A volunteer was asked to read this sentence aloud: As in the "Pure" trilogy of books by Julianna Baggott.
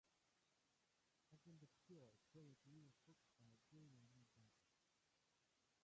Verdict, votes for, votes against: rejected, 0, 2